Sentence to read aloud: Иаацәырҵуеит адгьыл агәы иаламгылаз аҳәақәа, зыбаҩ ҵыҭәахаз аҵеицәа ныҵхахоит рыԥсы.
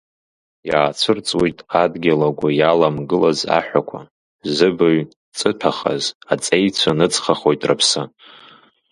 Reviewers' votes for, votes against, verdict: 2, 0, accepted